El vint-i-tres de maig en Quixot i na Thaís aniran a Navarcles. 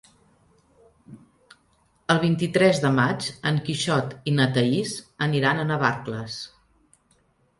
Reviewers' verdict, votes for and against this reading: accepted, 3, 0